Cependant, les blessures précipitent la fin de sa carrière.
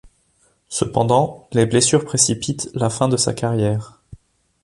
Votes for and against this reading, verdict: 2, 0, accepted